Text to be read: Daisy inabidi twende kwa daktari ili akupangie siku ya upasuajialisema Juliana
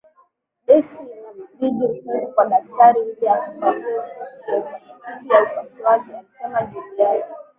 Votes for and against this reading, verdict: 0, 2, rejected